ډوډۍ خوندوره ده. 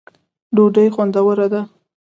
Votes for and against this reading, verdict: 2, 0, accepted